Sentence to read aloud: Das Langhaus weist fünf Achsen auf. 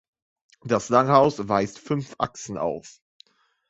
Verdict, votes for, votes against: accepted, 2, 0